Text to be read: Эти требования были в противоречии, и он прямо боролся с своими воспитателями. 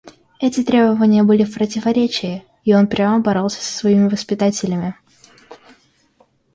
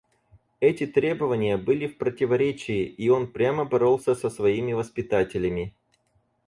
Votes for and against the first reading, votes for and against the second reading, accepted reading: 2, 1, 2, 4, first